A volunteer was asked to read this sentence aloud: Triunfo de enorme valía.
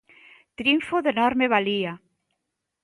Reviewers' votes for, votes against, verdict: 2, 0, accepted